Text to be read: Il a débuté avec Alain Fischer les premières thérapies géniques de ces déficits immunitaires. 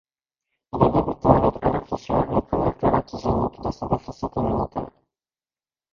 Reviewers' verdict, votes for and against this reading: rejected, 0, 2